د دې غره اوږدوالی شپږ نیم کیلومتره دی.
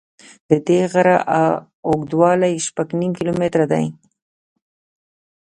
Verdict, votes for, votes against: accepted, 2, 0